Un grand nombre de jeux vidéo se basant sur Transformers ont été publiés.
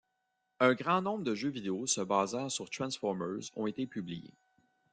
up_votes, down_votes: 1, 2